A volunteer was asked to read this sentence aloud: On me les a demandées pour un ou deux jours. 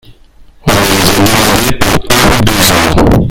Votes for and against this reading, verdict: 0, 3, rejected